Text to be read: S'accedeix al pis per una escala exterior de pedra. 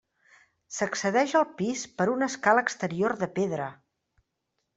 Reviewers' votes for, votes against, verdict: 3, 0, accepted